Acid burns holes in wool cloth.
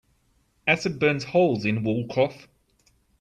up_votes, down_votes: 3, 0